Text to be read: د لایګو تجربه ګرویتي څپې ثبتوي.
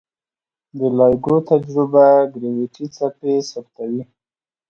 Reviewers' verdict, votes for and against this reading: accepted, 2, 0